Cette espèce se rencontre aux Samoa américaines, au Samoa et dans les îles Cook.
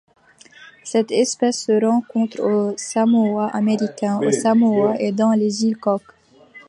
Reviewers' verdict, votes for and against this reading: rejected, 0, 2